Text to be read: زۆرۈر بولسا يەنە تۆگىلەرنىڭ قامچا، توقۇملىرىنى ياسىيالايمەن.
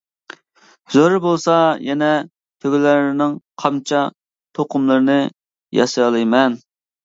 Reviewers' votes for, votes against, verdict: 2, 1, accepted